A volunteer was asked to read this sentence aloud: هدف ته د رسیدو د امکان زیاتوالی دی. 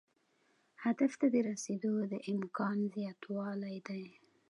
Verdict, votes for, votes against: accepted, 2, 0